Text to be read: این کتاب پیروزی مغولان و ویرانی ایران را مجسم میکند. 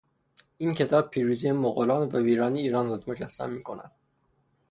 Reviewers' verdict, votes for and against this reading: accepted, 3, 0